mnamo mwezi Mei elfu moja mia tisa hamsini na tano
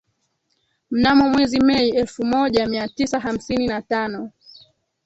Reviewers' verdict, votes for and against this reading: rejected, 2, 3